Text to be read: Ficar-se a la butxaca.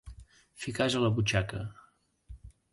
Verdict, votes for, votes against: rejected, 1, 2